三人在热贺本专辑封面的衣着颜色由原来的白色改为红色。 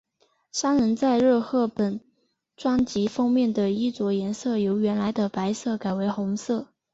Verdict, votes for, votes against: accepted, 4, 0